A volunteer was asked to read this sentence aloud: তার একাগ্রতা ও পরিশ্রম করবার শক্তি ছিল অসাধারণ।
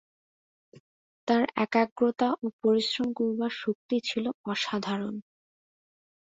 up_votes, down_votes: 2, 0